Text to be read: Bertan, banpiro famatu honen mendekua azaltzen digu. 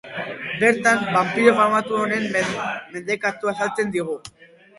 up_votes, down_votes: 4, 4